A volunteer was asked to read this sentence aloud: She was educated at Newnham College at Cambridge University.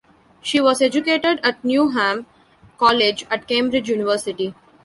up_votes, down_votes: 2, 1